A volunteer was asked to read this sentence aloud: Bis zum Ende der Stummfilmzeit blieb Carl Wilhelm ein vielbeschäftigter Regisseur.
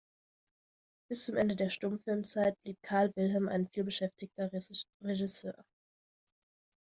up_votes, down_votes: 0, 2